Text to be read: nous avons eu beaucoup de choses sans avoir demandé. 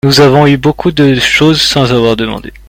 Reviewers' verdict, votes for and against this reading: accepted, 2, 0